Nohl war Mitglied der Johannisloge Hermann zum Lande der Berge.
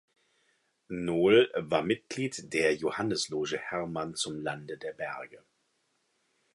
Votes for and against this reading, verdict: 2, 0, accepted